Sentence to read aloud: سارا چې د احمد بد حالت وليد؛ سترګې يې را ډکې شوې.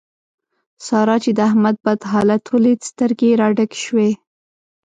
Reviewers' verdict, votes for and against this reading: accepted, 2, 0